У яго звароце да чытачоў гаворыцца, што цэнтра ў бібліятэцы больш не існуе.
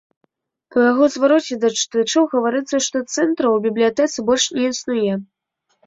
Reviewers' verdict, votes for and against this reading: rejected, 0, 2